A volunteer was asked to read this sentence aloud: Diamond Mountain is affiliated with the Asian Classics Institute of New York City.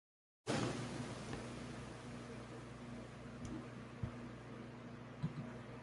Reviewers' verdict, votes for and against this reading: rejected, 0, 2